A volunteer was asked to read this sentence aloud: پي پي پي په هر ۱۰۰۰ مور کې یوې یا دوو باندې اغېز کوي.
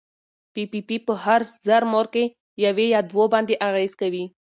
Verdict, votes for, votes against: rejected, 0, 2